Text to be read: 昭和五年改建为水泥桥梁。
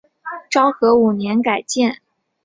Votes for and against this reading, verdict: 1, 4, rejected